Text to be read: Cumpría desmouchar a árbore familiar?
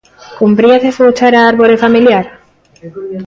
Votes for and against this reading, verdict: 0, 2, rejected